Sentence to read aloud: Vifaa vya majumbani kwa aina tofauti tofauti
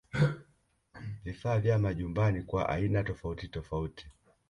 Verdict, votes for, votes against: rejected, 0, 2